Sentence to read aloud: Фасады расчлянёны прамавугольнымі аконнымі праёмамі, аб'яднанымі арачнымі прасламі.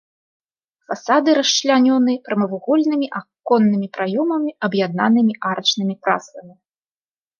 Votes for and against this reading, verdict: 2, 0, accepted